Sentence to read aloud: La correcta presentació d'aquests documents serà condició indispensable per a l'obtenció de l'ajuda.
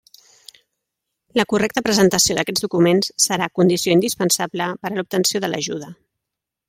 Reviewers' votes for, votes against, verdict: 3, 0, accepted